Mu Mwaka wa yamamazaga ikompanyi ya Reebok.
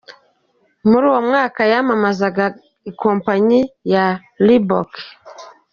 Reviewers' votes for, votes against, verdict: 1, 2, rejected